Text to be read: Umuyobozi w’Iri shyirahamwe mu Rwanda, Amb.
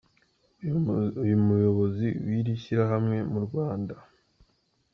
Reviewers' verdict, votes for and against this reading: rejected, 0, 2